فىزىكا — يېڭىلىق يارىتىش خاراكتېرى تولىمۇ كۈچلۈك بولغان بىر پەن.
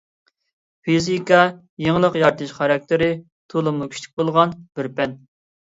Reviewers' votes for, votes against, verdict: 2, 0, accepted